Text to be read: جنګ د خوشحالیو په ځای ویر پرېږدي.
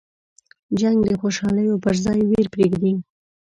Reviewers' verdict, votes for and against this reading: accepted, 2, 0